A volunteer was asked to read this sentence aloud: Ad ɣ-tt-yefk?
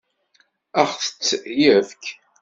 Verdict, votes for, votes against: rejected, 0, 2